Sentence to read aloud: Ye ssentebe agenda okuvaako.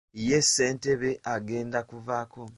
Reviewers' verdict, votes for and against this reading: rejected, 0, 2